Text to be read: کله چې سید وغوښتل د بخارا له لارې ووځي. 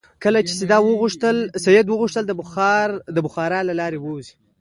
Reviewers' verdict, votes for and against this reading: accepted, 2, 0